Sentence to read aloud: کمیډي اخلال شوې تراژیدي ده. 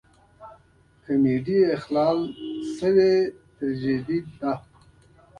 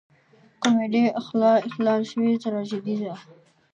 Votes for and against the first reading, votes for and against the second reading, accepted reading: 2, 1, 1, 2, first